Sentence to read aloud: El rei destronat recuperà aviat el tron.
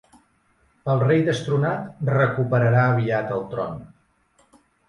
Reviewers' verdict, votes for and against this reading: rejected, 0, 2